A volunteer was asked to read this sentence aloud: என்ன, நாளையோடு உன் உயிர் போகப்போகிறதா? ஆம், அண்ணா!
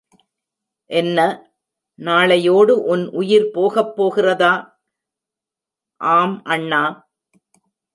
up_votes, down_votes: 2, 0